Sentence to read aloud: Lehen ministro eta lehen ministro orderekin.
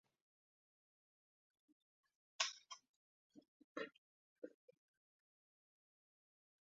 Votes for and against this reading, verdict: 0, 2, rejected